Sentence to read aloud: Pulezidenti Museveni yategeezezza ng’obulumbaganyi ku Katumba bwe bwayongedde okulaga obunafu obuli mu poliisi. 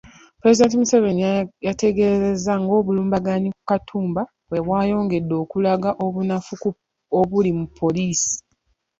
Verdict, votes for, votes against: rejected, 1, 2